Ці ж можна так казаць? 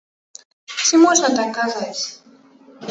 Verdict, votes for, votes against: rejected, 1, 3